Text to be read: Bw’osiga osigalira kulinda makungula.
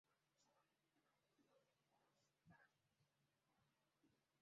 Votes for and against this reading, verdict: 0, 2, rejected